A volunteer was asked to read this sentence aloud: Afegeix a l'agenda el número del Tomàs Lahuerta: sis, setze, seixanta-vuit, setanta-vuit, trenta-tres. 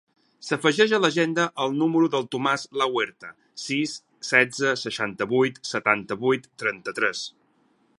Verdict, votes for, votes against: rejected, 2, 4